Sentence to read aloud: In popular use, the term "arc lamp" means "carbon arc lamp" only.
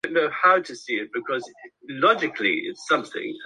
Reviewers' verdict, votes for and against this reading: rejected, 0, 2